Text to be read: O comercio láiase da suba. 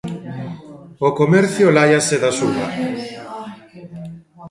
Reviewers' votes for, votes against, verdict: 0, 2, rejected